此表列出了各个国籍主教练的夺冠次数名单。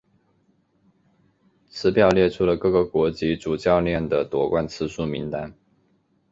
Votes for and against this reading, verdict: 2, 0, accepted